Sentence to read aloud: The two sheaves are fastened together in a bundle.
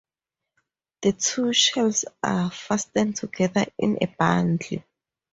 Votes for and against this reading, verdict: 2, 2, rejected